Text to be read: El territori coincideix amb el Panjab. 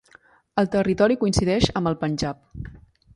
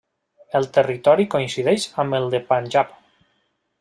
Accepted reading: first